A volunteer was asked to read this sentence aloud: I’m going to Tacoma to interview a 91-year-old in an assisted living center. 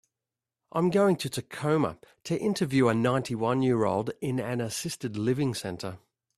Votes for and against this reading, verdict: 0, 2, rejected